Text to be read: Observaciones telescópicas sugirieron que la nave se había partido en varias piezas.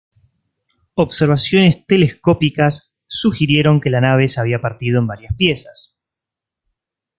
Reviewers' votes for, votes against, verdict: 2, 0, accepted